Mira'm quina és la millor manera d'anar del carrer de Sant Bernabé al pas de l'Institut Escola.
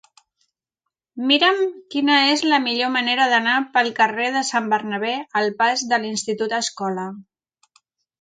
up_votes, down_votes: 1, 2